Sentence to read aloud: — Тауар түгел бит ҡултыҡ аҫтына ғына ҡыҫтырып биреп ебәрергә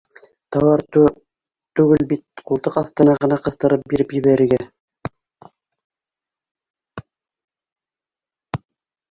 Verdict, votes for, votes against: rejected, 1, 2